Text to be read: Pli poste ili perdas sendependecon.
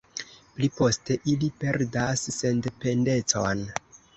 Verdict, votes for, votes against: accepted, 2, 0